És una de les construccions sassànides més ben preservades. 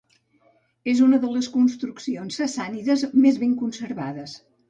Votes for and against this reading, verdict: 0, 2, rejected